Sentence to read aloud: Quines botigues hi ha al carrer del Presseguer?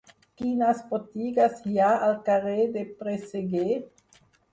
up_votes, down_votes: 4, 0